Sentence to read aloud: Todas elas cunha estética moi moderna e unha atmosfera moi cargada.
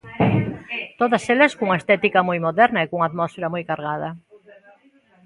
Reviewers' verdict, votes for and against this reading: rejected, 1, 2